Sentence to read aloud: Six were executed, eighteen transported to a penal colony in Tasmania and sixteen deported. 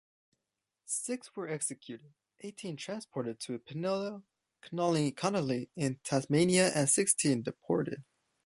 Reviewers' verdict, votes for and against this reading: rejected, 1, 2